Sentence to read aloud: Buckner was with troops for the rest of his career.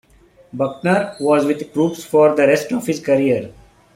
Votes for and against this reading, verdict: 2, 0, accepted